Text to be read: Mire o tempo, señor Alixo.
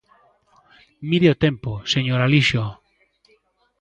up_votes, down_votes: 1, 2